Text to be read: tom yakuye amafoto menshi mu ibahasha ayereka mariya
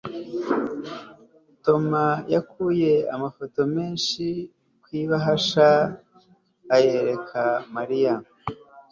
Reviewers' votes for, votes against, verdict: 2, 0, accepted